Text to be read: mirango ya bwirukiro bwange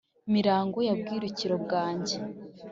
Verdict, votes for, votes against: accepted, 2, 0